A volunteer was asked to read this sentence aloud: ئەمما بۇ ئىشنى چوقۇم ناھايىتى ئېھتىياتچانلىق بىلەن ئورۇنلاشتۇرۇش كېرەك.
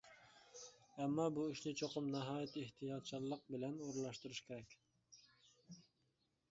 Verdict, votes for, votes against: accepted, 2, 1